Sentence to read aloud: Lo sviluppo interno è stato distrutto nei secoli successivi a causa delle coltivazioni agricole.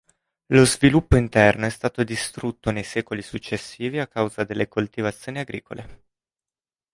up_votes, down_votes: 2, 0